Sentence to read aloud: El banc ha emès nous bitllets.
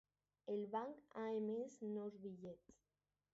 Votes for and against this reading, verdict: 0, 2, rejected